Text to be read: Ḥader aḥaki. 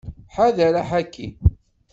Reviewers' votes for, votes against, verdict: 2, 0, accepted